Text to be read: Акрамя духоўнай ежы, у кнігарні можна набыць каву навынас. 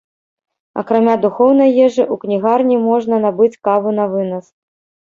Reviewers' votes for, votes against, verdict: 1, 2, rejected